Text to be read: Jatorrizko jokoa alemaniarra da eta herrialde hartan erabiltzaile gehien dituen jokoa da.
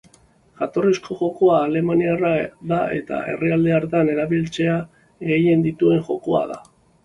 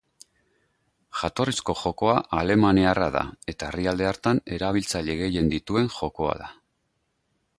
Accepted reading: second